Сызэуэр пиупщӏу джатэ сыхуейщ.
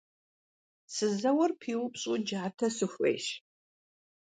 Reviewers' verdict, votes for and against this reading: accepted, 2, 0